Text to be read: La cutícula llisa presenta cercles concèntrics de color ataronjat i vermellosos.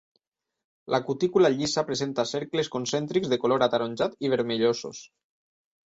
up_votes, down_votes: 3, 0